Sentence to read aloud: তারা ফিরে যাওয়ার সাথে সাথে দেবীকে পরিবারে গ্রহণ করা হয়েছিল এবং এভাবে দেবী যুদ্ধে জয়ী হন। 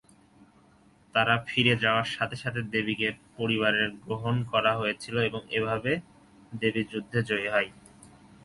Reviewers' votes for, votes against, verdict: 3, 3, rejected